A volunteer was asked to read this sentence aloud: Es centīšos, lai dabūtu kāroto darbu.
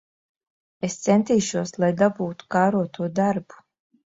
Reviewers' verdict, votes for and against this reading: accepted, 2, 0